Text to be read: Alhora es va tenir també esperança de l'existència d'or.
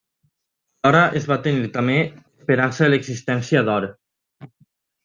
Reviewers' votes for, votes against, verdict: 1, 2, rejected